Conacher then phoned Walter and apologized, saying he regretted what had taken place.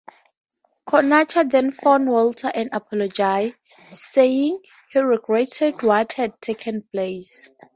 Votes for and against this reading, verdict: 4, 2, accepted